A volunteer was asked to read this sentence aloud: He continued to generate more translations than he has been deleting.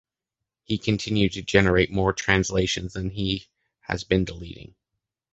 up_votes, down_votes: 2, 1